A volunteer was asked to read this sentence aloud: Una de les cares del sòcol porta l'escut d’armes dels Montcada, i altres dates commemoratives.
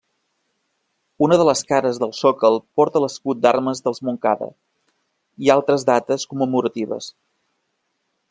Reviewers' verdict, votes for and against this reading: accepted, 3, 0